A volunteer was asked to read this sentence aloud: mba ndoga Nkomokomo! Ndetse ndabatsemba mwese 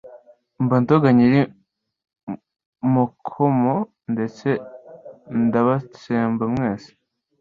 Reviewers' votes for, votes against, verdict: 1, 2, rejected